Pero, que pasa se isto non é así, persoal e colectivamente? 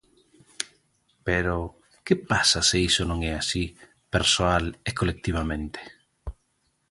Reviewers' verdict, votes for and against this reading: rejected, 1, 2